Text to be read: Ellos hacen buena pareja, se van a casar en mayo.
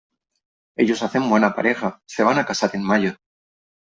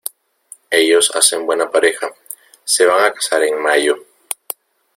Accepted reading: first